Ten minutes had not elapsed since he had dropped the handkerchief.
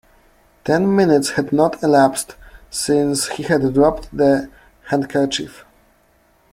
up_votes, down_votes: 2, 0